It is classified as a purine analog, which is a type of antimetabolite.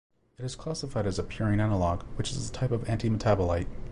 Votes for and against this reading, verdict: 2, 0, accepted